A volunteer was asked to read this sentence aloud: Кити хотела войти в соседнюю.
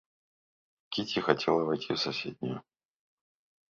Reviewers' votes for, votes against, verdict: 2, 0, accepted